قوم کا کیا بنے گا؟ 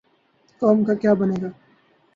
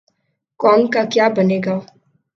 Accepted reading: second